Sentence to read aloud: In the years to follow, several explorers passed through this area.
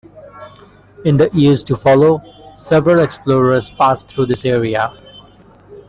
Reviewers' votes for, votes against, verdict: 2, 1, accepted